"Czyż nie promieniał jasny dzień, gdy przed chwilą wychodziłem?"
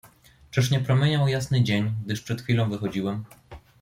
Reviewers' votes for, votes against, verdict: 0, 2, rejected